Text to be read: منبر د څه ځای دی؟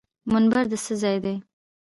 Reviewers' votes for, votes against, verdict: 1, 2, rejected